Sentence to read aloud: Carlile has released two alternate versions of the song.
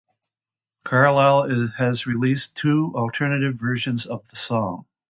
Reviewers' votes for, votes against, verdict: 0, 2, rejected